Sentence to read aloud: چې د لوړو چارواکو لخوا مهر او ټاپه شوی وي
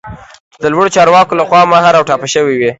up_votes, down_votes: 2, 1